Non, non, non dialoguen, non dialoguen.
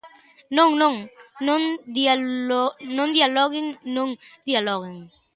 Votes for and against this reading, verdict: 0, 2, rejected